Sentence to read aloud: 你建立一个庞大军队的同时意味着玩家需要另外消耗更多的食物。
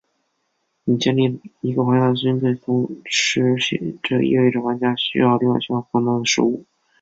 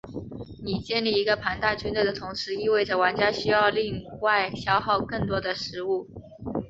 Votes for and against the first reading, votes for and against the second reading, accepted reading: 0, 2, 4, 2, second